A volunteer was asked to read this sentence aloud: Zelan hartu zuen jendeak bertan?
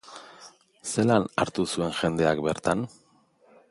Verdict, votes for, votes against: accepted, 3, 0